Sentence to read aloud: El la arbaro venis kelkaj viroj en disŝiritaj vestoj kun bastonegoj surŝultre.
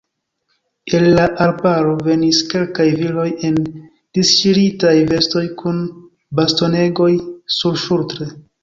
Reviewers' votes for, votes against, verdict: 0, 2, rejected